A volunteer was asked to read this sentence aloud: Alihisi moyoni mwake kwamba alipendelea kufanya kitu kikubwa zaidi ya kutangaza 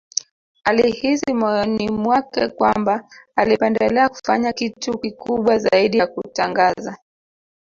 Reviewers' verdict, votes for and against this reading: accepted, 4, 2